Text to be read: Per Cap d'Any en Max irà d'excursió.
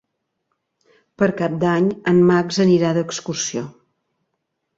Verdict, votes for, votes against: rejected, 0, 2